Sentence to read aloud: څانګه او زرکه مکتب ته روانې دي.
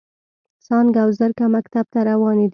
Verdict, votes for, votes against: accepted, 2, 0